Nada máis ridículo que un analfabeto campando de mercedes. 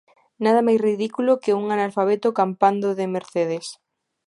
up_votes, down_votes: 2, 1